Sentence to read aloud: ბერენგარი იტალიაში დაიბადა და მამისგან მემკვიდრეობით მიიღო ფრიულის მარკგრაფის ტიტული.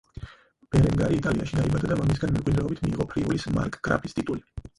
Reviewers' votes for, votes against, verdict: 0, 4, rejected